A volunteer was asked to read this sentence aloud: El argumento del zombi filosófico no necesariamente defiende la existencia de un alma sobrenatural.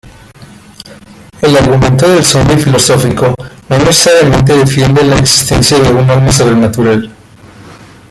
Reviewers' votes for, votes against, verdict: 1, 3, rejected